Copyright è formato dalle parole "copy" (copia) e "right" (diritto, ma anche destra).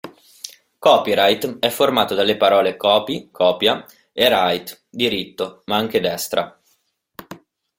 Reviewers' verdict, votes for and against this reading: accepted, 2, 0